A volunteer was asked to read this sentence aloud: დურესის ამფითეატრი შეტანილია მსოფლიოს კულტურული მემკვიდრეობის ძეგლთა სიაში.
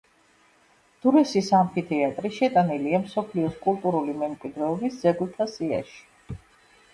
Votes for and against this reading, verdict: 2, 0, accepted